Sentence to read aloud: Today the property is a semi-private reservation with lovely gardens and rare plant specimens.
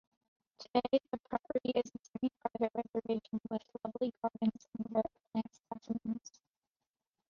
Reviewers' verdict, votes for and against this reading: rejected, 1, 2